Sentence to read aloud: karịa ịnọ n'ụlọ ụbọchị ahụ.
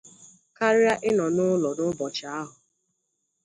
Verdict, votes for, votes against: accepted, 2, 0